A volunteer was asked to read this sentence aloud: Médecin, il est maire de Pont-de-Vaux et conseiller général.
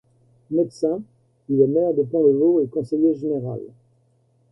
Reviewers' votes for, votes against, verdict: 1, 2, rejected